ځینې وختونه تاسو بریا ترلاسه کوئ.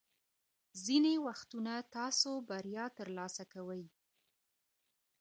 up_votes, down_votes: 2, 0